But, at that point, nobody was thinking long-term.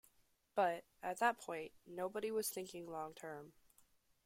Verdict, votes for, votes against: accepted, 2, 0